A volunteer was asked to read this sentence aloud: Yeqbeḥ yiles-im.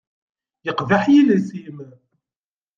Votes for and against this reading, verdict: 2, 0, accepted